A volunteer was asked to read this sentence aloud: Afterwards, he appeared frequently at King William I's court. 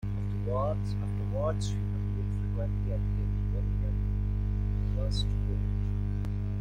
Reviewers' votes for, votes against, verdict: 0, 2, rejected